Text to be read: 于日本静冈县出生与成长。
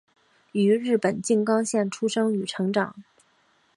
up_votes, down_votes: 2, 1